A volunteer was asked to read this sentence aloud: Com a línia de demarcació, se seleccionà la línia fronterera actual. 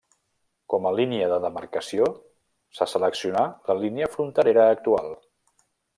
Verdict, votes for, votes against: accepted, 3, 0